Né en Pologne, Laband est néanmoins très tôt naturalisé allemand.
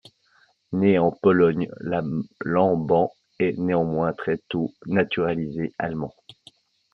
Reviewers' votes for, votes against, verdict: 0, 2, rejected